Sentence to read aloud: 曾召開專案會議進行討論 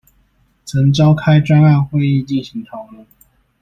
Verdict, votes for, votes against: rejected, 1, 2